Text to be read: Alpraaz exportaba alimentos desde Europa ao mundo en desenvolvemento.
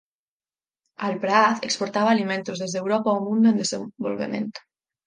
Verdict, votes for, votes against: rejected, 2, 4